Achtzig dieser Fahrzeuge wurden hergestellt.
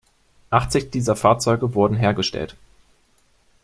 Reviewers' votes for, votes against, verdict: 2, 0, accepted